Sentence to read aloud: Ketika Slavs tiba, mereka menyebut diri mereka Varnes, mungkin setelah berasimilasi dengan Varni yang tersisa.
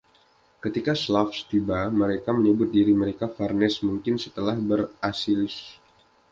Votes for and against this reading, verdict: 0, 2, rejected